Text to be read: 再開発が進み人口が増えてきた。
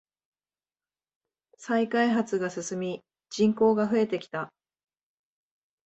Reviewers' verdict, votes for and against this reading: accepted, 2, 0